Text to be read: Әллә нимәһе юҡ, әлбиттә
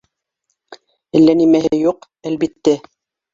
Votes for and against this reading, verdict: 1, 2, rejected